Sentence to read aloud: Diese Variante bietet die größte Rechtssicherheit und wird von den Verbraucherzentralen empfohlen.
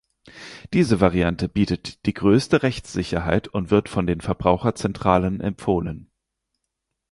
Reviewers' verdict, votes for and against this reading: accepted, 4, 0